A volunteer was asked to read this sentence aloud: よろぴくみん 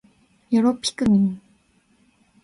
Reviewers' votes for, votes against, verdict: 2, 0, accepted